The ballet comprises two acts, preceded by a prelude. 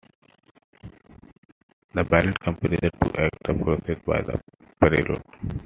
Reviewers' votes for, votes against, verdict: 0, 2, rejected